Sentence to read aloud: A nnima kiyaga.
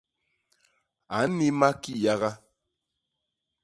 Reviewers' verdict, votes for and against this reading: accepted, 2, 0